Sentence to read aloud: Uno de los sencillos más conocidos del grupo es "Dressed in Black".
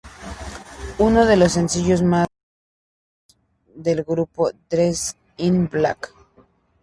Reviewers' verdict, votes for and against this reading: rejected, 0, 2